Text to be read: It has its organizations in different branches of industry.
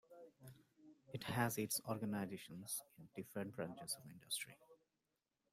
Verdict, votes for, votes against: accepted, 2, 1